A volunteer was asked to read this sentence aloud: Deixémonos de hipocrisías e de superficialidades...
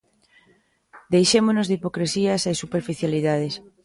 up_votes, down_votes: 1, 2